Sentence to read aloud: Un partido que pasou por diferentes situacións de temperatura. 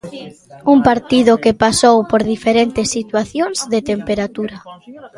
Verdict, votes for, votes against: rejected, 1, 2